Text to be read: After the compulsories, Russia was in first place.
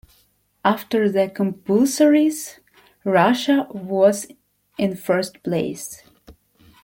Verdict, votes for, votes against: accepted, 2, 0